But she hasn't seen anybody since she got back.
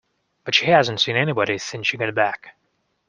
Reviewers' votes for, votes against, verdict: 2, 0, accepted